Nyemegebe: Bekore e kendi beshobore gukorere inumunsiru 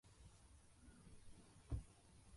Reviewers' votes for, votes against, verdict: 0, 2, rejected